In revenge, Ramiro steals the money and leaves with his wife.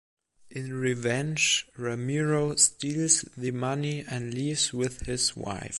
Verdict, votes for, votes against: accepted, 2, 0